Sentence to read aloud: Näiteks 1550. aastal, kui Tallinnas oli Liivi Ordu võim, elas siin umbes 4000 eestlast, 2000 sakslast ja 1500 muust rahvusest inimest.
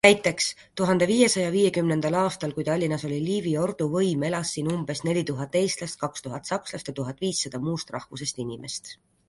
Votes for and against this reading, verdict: 0, 2, rejected